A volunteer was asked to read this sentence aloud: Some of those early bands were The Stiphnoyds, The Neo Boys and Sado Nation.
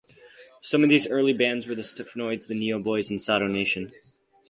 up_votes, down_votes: 2, 2